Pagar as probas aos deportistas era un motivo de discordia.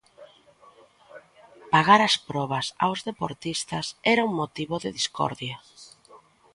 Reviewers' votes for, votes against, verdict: 2, 0, accepted